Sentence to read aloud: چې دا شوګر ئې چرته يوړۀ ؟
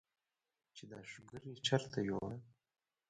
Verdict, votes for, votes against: rejected, 1, 2